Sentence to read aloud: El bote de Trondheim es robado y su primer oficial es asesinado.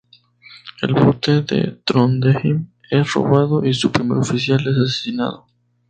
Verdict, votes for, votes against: accepted, 2, 0